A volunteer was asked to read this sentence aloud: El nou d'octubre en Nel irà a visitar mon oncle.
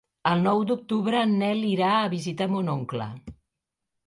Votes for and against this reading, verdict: 2, 0, accepted